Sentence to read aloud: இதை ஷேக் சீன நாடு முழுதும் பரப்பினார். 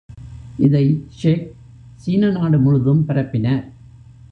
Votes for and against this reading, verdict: 0, 2, rejected